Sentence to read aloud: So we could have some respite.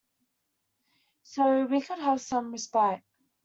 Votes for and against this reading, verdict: 2, 0, accepted